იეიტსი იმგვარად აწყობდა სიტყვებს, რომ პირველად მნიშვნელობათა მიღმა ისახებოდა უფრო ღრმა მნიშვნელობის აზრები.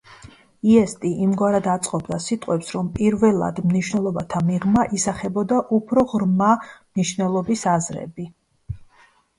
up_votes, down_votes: 1, 2